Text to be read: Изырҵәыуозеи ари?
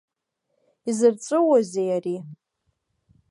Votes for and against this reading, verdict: 2, 0, accepted